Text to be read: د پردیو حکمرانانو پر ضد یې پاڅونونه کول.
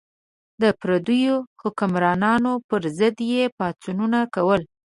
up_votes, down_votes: 2, 0